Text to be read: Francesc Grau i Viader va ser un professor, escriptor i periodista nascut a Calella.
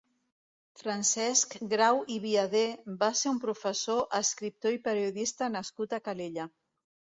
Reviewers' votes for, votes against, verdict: 2, 0, accepted